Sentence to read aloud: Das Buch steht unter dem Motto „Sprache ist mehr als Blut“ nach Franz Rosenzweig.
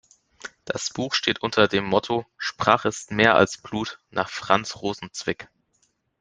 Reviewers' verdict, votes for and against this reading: rejected, 0, 2